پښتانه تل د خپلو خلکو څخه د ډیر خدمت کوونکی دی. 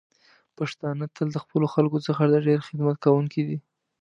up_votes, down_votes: 2, 0